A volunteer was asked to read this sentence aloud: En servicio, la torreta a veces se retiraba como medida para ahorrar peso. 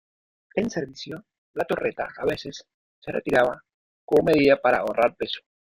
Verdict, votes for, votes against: rejected, 0, 2